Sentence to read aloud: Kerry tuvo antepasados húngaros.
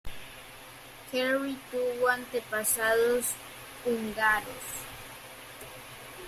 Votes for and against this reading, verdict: 0, 2, rejected